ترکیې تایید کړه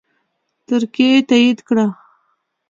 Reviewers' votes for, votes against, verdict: 2, 0, accepted